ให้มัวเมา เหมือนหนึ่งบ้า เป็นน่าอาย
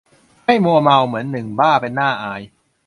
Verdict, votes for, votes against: accepted, 2, 0